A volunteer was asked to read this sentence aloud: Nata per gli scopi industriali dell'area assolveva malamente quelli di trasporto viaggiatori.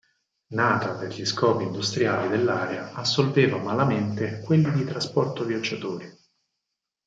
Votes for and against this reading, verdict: 4, 0, accepted